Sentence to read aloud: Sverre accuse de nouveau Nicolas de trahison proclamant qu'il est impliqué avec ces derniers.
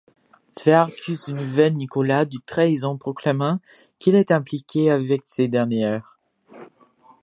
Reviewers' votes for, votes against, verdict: 0, 3, rejected